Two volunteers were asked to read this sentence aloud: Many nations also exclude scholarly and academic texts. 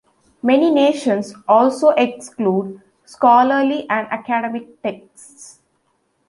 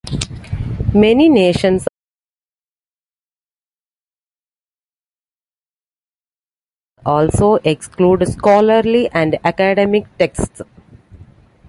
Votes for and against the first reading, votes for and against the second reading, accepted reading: 2, 0, 1, 2, first